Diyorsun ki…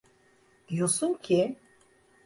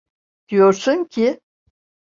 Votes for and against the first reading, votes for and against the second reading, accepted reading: 1, 2, 2, 0, second